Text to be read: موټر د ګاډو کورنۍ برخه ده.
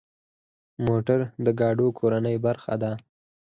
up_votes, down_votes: 4, 0